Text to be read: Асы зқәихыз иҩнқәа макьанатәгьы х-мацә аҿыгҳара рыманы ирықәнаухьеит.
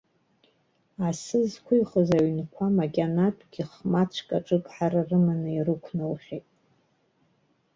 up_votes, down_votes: 2, 0